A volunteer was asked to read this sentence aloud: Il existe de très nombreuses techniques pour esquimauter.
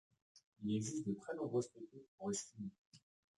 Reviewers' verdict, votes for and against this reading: rejected, 0, 2